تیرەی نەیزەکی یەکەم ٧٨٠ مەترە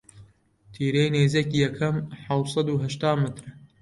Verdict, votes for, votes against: rejected, 0, 2